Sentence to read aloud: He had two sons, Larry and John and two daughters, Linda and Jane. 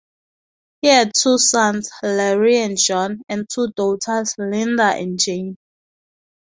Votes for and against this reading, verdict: 2, 0, accepted